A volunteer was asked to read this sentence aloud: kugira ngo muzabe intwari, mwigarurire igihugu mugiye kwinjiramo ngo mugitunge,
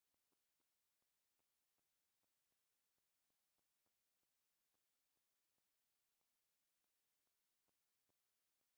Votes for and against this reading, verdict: 0, 2, rejected